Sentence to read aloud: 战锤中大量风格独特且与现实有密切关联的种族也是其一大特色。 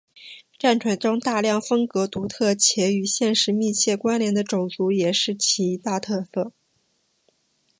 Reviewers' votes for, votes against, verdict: 3, 2, accepted